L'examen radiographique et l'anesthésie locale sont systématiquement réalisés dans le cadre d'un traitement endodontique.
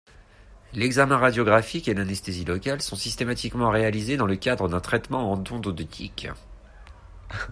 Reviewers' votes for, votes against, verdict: 2, 0, accepted